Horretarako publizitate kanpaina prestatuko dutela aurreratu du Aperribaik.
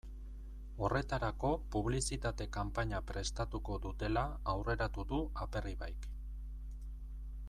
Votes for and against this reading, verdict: 2, 0, accepted